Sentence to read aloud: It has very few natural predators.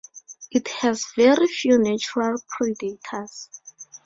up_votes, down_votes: 2, 2